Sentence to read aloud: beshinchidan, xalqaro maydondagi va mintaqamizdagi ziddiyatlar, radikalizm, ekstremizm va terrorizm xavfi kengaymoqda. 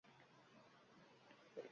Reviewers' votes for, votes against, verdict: 0, 2, rejected